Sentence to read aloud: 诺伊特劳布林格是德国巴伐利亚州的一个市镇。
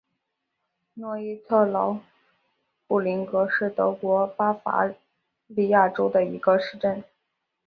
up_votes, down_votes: 3, 1